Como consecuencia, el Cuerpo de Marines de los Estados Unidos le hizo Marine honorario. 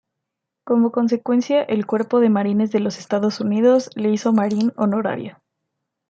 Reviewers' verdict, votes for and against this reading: accepted, 2, 0